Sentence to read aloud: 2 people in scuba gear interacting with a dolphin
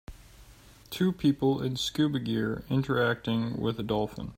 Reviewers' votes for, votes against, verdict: 0, 2, rejected